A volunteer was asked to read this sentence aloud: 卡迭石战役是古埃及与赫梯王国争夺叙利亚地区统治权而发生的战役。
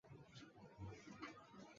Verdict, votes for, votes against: rejected, 1, 2